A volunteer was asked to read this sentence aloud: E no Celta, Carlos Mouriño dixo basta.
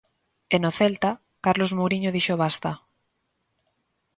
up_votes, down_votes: 2, 0